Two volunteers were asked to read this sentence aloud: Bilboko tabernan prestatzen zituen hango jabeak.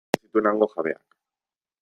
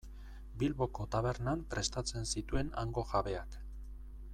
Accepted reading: second